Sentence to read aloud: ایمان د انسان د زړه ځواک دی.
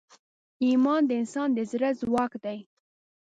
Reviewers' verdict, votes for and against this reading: accepted, 2, 0